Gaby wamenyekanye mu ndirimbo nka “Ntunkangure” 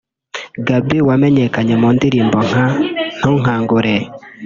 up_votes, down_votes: 1, 2